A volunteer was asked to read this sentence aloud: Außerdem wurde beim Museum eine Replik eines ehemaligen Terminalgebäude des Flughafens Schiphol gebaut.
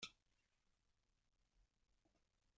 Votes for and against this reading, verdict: 0, 2, rejected